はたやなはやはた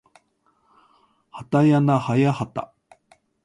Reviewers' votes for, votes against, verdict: 2, 0, accepted